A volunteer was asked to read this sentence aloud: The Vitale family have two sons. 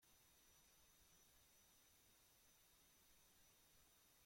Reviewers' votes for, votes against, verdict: 0, 2, rejected